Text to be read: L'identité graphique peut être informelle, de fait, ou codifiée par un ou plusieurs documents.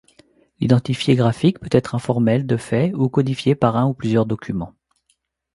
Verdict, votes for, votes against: rejected, 0, 2